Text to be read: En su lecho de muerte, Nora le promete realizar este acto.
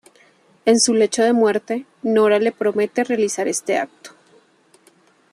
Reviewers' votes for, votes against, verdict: 3, 0, accepted